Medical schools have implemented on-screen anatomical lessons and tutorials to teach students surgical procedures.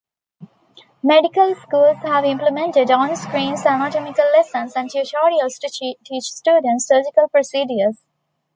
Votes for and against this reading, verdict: 1, 2, rejected